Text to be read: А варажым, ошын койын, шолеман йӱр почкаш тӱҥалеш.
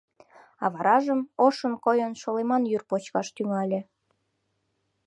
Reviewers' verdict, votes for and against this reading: rejected, 0, 2